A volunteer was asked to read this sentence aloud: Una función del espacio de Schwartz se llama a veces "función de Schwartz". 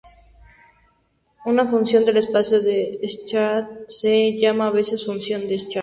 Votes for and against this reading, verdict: 0, 2, rejected